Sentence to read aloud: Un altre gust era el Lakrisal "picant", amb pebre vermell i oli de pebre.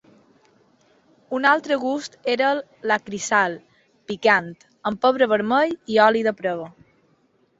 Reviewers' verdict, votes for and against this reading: rejected, 0, 2